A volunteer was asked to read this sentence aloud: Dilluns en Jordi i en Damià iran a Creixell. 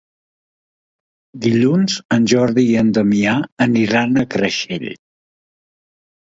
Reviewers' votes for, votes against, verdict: 0, 2, rejected